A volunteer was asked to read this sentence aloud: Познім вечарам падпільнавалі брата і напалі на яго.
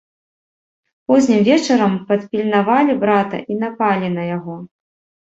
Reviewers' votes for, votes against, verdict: 2, 0, accepted